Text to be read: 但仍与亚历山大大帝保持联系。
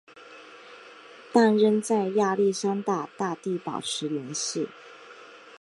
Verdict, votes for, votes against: accepted, 2, 1